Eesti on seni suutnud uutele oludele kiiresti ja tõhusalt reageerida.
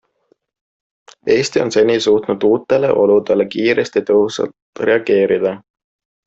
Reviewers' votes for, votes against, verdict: 2, 0, accepted